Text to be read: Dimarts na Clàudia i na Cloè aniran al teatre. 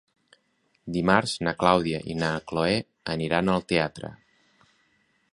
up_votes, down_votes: 3, 0